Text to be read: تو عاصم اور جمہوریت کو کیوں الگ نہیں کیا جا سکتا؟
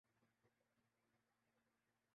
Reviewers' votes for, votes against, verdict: 0, 3, rejected